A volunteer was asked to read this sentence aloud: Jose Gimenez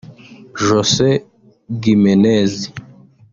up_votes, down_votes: 1, 2